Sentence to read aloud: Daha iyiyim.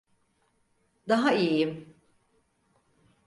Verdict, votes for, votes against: accepted, 4, 0